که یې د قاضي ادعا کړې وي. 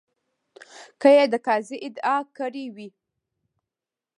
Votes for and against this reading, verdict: 0, 2, rejected